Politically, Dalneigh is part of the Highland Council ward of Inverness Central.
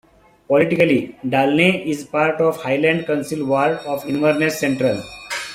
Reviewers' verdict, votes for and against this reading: rejected, 1, 2